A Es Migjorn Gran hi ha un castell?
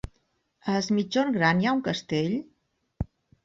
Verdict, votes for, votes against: accepted, 4, 0